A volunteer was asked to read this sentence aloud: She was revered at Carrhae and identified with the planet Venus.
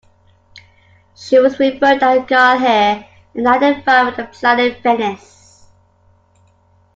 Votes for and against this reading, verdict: 1, 2, rejected